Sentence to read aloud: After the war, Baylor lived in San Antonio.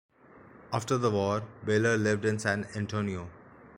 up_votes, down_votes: 2, 0